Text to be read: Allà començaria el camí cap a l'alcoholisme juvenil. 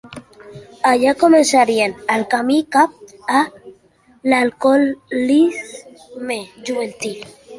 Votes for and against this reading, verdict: 0, 3, rejected